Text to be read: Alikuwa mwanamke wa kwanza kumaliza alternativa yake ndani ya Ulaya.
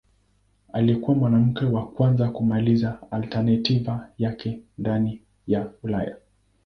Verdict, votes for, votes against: rejected, 1, 2